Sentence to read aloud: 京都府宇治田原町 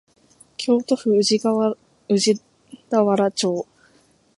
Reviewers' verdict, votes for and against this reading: rejected, 0, 2